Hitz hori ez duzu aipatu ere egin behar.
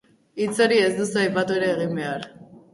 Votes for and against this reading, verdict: 4, 0, accepted